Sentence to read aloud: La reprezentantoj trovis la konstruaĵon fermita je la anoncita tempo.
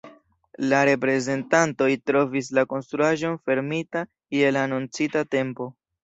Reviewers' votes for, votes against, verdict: 2, 0, accepted